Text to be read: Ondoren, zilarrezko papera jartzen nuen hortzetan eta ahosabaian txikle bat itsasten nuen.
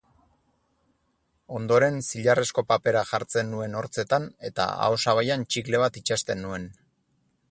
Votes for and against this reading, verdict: 6, 0, accepted